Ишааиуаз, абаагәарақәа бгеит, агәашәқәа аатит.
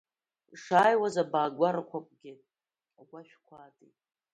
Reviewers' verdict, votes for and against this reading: rejected, 1, 2